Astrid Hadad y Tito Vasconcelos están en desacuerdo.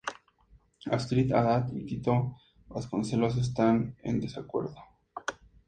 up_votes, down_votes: 0, 2